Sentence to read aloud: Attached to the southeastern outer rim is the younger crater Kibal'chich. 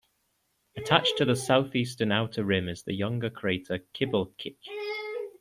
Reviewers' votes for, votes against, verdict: 2, 0, accepted